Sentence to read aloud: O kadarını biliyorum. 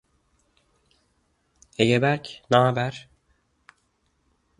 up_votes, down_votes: 0, 2